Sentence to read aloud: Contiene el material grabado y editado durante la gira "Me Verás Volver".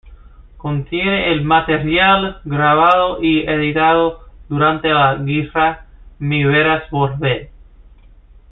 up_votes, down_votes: 1, 2